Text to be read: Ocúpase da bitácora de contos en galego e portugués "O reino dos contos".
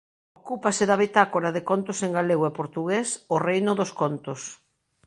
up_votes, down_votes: 4, 3